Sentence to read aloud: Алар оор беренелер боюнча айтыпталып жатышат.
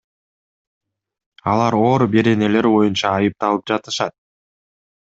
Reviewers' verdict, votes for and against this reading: accepted, 2, 0